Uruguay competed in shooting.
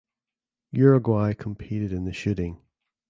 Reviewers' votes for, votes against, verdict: 0, 2, rejected